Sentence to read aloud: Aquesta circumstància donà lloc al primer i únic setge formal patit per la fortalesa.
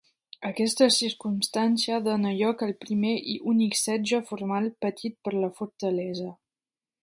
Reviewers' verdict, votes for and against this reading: rejected, 1, 2